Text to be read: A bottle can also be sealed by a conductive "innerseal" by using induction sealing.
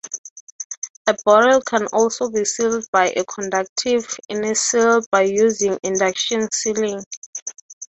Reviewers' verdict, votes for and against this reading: accepted, 6, 0